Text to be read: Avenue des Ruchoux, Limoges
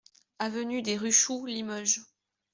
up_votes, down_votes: 2, 0